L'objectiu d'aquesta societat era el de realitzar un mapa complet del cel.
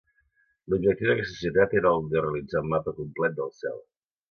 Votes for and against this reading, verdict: 2, 0, accepted